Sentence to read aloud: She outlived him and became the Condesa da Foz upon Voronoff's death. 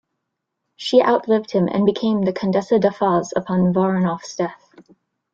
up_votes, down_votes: 0, 2